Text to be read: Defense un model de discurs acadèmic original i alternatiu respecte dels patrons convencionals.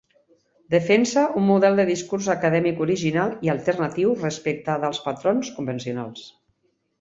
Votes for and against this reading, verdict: 2, 0, accepted